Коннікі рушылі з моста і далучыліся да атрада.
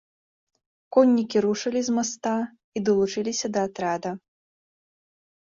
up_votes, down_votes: 2, 3